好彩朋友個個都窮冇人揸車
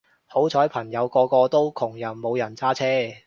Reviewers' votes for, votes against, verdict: 1, 2, rejected